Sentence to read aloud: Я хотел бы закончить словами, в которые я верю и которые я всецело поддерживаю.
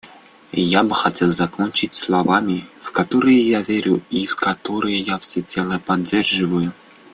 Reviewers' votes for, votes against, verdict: 0, 2, rejected